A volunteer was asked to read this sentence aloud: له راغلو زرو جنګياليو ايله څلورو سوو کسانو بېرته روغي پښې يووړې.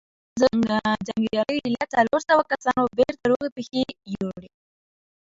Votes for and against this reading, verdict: 1, 2, rejected